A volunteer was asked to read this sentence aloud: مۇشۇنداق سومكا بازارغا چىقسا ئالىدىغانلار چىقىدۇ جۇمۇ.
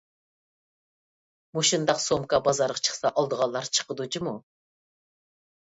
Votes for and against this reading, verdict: 1, 2, rejected